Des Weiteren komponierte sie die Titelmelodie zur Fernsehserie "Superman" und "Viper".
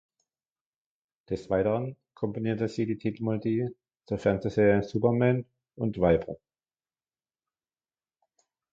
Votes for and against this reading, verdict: 1, 2, rejected